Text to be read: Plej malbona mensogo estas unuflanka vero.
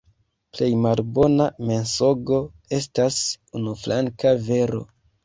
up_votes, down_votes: 1, 2